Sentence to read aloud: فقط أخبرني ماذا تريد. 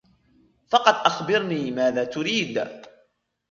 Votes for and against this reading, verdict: 2, 1, accepted